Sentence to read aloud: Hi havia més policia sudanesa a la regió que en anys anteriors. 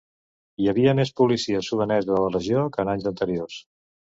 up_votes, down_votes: 2, 0